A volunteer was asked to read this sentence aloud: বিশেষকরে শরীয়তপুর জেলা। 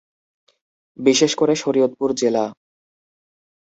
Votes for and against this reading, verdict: 2, 0, accepted